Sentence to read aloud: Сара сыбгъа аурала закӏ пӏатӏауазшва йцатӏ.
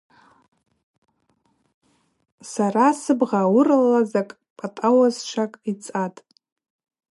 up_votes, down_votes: 2, 2